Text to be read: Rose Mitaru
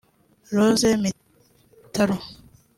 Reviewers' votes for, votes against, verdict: 1, 2, rejected